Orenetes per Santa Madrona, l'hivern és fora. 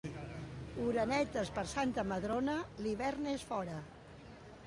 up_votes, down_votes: 2, 1